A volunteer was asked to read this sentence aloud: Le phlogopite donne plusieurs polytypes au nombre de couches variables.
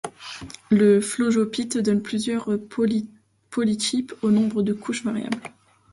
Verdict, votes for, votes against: rejected, 0, 2